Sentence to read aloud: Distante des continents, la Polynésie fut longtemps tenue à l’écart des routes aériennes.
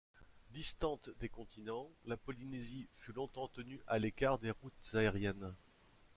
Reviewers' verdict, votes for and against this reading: accepted, 2, 0